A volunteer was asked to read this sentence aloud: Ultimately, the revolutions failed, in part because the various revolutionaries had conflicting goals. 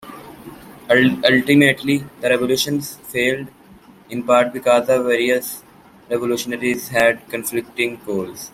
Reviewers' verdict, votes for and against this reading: rejected, 0, 2